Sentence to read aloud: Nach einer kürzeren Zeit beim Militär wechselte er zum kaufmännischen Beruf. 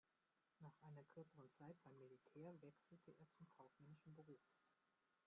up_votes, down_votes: 0, 2